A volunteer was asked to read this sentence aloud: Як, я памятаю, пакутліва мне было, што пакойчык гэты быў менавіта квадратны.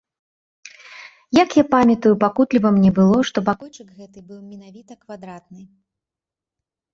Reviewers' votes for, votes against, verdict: 0, 2, rejected